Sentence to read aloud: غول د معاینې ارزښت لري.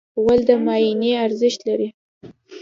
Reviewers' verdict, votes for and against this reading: rejected, 0, 2